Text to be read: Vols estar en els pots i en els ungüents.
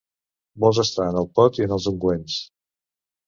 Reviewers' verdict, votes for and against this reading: rejected, 1, 2